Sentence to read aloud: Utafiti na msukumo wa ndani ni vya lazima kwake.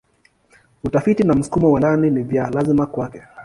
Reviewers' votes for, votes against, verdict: 2, 0, accepted